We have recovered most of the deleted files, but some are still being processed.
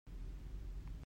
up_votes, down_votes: 0, 2